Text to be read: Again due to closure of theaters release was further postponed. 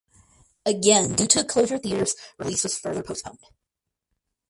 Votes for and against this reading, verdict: 4, 0, accepted